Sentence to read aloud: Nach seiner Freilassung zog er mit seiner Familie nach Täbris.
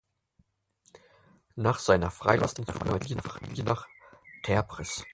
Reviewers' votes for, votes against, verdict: 0, 4, rejected